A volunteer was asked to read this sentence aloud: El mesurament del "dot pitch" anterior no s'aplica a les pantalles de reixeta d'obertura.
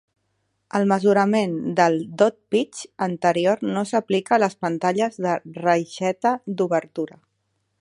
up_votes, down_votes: 2, 0